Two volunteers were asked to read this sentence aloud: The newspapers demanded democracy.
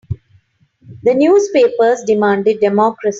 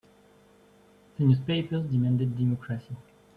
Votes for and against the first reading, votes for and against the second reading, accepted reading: 3, 0, 1, 2, first